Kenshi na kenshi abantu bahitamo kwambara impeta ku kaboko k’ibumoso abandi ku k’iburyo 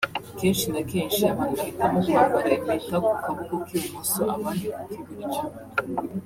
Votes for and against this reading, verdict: 0, 2, rejected